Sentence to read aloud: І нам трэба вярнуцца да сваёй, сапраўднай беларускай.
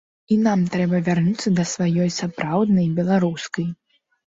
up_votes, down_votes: 2, 0